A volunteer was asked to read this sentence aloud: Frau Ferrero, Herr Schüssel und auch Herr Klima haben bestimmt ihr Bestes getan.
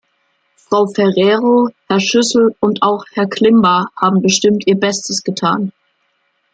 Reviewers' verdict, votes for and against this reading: rejected, 1, 2